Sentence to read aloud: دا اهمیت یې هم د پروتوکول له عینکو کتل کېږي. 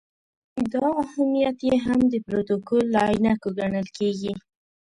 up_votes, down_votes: 1, 2